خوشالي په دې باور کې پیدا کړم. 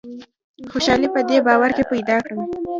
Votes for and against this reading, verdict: 2, 0, accepted